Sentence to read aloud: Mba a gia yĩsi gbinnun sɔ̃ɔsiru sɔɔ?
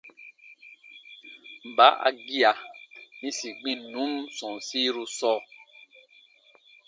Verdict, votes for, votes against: accepted, 2, 0